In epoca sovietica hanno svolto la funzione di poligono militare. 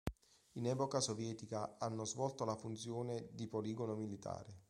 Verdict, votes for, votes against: accepted, 2, 1